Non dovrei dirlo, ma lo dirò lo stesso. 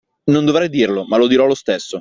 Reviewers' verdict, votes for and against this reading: accepted, 2, 0